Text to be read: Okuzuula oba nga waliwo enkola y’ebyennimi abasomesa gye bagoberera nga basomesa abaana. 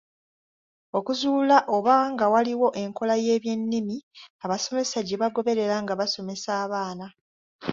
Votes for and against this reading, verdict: 0, 2, rejected